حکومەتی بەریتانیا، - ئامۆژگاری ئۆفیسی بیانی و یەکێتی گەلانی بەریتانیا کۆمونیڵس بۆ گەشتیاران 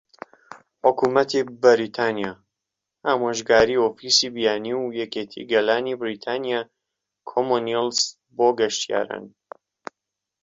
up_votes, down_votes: 2, 0